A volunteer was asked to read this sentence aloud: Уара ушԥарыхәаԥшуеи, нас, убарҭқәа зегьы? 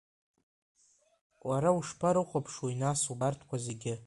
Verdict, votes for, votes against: rejected, 0, 2